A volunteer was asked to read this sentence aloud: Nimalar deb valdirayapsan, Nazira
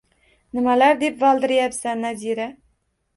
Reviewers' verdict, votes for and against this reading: accepted, 2, 0